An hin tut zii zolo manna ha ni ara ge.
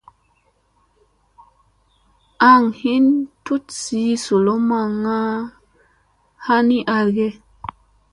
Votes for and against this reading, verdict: 2, 1, accepted